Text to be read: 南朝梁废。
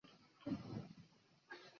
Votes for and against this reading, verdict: 0, 3, rejected